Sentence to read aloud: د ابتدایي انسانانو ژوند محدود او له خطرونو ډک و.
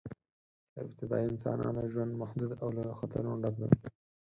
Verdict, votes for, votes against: rejected, 2, 4